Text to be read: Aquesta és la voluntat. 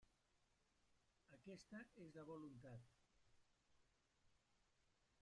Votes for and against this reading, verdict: 0, 2, rejected